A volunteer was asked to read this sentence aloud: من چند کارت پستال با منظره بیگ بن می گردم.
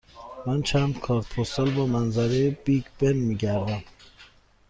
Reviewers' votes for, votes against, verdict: 2, 0, accepted